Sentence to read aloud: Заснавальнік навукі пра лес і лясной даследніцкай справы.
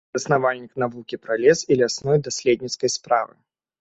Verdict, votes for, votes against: accepted, 2, 0